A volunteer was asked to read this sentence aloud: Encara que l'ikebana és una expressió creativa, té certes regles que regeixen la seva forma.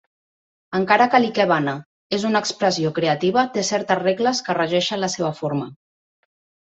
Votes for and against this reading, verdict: 1, 2, rejected